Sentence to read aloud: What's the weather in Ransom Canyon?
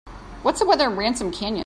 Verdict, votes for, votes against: accepted, 3, 0